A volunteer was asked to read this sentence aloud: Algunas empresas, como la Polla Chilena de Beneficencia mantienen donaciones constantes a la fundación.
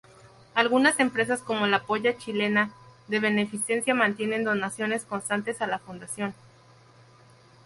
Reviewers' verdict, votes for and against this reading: accepted, 2, 0